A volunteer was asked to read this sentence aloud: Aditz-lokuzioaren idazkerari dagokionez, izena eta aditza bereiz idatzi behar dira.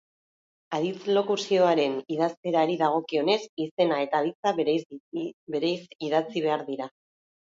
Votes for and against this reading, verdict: 0, 4, rejected